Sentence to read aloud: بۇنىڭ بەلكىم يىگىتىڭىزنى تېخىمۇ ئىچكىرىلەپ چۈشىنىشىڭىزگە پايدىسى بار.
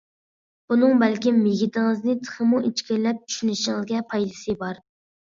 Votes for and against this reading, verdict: 2, 1, accepted